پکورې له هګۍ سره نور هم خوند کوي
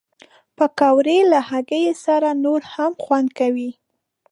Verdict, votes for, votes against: accepted, 2, 0